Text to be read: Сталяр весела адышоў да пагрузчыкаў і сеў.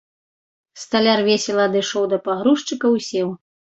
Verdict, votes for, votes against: accepted, 2, 0